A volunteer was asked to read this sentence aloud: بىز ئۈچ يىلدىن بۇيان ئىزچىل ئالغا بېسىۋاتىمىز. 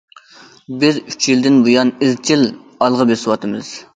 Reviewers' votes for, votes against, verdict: 2, 0, accepted